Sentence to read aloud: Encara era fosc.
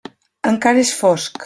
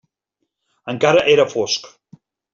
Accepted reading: second